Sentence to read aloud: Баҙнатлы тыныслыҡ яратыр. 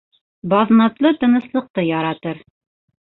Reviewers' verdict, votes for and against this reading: rejected, 1, 2